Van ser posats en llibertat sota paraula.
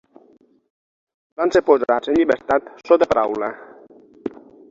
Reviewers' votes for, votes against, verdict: 6, 3, accepted